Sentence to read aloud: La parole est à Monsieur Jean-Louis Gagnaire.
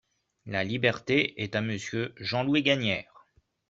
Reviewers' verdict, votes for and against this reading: rejected, 0, 2